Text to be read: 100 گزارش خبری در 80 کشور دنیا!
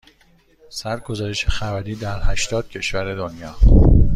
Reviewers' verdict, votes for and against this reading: rejected, 0, 2